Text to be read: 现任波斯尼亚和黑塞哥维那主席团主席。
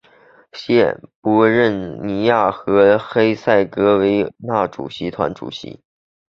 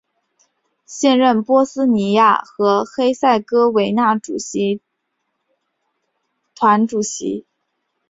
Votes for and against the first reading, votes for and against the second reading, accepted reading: 2, 3, 4, 0, second